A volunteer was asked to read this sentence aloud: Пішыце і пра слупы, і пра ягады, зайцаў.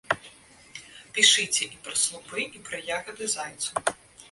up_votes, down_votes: 2, 0